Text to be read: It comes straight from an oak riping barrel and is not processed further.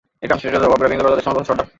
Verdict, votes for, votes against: rejected, 0, 2